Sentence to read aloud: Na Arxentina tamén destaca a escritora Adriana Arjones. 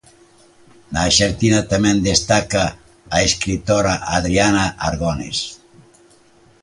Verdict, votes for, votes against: rejected, 0, 2